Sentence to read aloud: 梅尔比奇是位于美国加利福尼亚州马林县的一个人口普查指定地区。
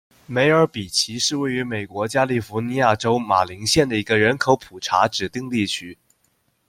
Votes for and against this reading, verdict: 2, 0, accepted